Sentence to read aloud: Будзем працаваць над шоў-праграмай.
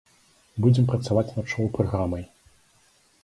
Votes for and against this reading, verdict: 3, 0, accepted